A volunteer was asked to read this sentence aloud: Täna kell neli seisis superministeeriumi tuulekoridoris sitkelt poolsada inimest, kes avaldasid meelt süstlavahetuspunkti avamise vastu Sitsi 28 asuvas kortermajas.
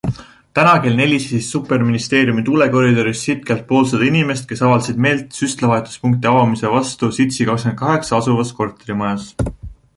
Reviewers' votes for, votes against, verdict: 0, 2, rejected